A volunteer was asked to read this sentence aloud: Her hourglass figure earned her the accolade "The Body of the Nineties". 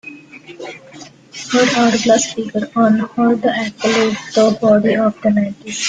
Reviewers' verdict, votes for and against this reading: rejected, 1, 2